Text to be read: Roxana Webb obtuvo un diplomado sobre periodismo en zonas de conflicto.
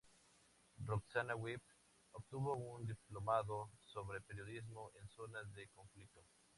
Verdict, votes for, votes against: accepted, 2, 0